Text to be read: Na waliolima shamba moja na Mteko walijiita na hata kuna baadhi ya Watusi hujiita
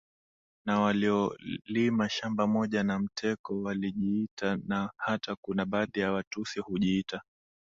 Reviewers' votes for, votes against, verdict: 2, 1, accepted